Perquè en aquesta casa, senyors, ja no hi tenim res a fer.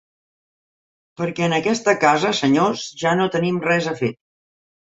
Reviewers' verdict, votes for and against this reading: rejected, 2, 3